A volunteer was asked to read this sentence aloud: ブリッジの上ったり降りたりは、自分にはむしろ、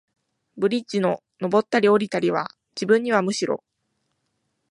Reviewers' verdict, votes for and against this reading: accepted, 2, 0